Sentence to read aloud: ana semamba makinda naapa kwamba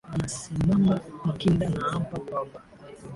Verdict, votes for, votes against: rejected, 2, 9